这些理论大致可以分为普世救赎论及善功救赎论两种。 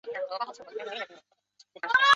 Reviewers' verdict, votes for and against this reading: rejected, 0, 2